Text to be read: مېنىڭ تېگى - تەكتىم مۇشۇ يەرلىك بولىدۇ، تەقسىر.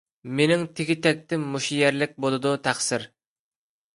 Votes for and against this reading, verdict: 2, 0, accepted